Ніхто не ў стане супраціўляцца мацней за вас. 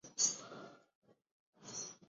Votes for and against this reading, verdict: 0, 2, rejected